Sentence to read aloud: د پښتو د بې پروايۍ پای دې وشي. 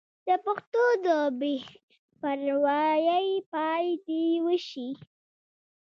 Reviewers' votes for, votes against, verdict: 0, 2, rejected